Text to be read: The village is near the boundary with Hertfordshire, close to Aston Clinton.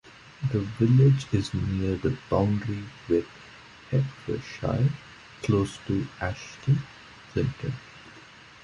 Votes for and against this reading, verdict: 1, 2, rejected